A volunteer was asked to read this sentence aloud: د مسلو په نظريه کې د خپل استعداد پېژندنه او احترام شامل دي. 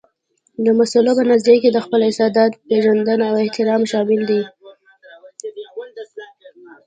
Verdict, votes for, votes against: accepted, 2, 0